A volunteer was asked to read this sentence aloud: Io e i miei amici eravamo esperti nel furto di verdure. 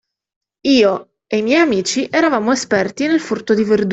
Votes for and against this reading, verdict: 0, 2, rejected